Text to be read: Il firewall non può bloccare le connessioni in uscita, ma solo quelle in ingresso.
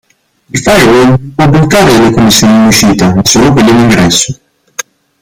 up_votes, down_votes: 0, 2